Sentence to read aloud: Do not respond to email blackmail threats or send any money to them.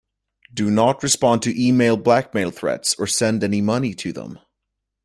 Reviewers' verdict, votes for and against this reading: accepted, 2, 0